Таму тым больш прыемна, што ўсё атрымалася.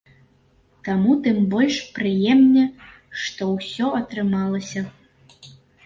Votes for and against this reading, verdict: 0, 2, rejected